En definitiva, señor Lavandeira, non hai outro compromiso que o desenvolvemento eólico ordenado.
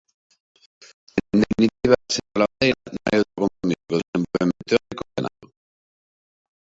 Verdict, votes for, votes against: rejected, 0, 2